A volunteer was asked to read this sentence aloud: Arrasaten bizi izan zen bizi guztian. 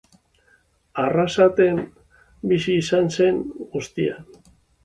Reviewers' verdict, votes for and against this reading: rejected, 0, 3